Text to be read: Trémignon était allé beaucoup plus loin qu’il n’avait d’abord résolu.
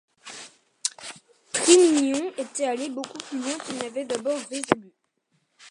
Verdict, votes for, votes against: rejected, 0, 2